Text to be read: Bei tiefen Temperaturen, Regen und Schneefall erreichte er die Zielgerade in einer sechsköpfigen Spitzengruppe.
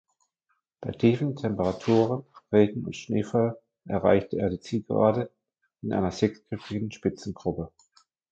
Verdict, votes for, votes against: accepted, 2, 0